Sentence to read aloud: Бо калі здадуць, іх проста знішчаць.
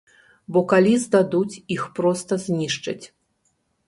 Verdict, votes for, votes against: accepted, 2, 0